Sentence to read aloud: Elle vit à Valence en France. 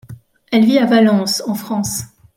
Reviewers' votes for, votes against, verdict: 2, 0, accepted